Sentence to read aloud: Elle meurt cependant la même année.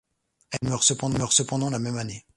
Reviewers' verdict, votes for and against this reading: rejected, 0, 2